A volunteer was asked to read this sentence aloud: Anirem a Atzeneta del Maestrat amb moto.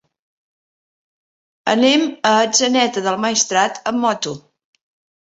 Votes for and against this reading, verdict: 0, 2, rejected